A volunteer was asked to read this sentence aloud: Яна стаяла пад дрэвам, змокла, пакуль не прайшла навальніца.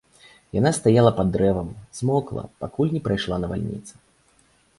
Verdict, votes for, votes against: accepted, 2, 0